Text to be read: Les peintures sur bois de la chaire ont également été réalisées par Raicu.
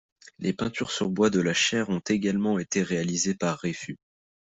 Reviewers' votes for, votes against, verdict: 1, 2, rejected